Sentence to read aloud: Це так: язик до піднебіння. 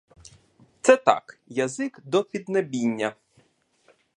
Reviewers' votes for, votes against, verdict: 2, 0, accepted